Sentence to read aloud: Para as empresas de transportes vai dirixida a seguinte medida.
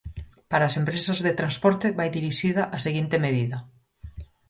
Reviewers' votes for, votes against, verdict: 0, 4, rejected